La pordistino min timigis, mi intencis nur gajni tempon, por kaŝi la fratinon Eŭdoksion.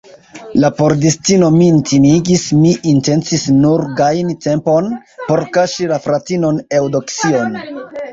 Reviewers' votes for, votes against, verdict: 0, 2, rejected